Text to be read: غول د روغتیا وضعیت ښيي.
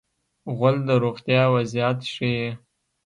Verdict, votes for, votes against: accepted, 2, 0